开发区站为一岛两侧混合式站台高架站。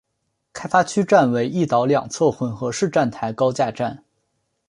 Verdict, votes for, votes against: accepted, 2, 0